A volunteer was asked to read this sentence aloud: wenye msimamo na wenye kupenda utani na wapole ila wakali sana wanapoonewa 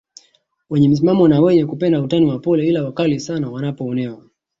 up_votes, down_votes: 1, 2